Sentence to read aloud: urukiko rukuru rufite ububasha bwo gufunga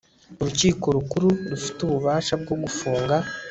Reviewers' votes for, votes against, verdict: 1, 2, rejected